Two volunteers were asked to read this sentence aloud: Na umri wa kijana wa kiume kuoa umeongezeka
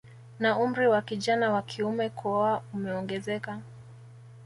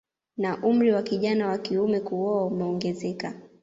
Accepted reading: second